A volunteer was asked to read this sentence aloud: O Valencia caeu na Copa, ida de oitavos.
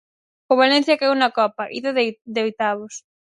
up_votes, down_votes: 2, 4